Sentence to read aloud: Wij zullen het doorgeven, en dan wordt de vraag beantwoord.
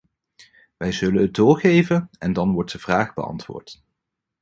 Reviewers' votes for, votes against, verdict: 2, 0, accepted